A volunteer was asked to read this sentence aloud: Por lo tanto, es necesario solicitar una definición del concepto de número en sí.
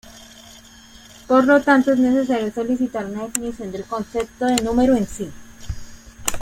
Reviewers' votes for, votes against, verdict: 2, 1, accepted